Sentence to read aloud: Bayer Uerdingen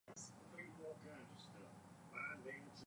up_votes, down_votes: 0, 2